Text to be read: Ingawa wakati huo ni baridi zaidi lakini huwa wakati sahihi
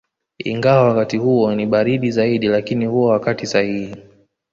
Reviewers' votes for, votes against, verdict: 0, 2, rejected